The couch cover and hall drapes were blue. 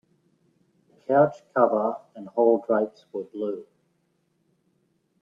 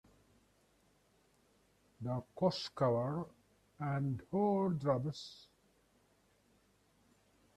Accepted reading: first